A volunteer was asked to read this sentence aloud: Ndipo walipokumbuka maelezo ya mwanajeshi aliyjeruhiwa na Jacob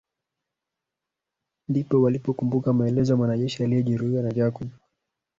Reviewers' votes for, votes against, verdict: 0, 2, rejected